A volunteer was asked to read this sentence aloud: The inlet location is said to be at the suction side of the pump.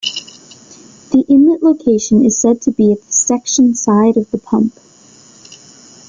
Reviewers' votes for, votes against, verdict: 1, 2, rejected